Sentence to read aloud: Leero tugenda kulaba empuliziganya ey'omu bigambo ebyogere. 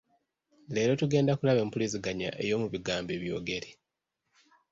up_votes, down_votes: 1, 2